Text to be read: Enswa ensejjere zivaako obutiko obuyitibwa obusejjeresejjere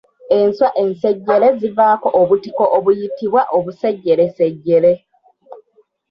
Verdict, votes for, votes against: accepted, 3, 2